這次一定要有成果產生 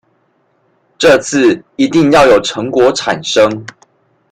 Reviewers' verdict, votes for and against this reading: accepted, 2, 1